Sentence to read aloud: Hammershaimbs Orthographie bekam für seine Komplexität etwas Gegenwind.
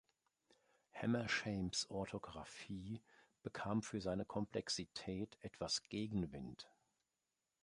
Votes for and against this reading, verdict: 2, 0, accepted